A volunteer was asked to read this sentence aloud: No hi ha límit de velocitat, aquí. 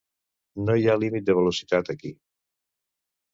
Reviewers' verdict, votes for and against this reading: accepted, 2, 0